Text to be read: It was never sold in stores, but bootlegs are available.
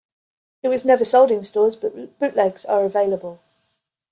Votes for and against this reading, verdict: 2, 3, rejected